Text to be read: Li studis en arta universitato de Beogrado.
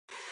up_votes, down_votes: 1, 2